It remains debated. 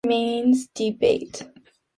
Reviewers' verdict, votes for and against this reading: rejected, 0, 3